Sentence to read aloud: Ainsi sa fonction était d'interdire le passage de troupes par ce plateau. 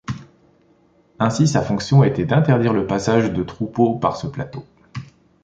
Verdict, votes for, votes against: rejected, 0, 2